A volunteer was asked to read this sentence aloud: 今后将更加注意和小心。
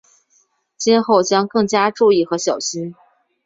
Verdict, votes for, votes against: accepted, 5, 0